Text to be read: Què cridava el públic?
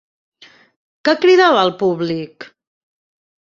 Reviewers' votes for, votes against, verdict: 3, 0, accepted